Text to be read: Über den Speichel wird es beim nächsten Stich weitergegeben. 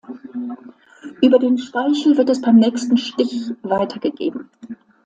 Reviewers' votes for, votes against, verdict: 2, 0, accepted